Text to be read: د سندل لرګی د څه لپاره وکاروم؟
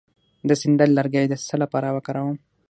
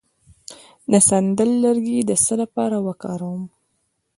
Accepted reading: second